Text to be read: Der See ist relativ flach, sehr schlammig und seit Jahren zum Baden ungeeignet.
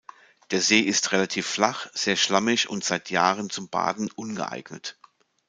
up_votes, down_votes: 2, 0